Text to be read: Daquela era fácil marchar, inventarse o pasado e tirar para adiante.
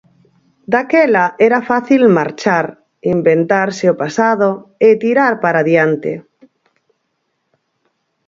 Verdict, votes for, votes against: accepted, 4, 0